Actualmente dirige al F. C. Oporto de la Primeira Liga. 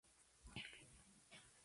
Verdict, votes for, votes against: rejected, 0, 2